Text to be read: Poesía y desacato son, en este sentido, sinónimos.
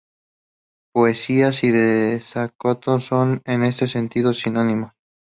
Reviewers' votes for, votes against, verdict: 2, 0, accepted